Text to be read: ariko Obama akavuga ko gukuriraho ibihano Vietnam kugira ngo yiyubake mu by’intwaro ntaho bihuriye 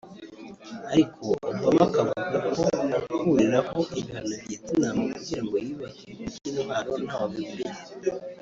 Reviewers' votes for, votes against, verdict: 1, 2, rejected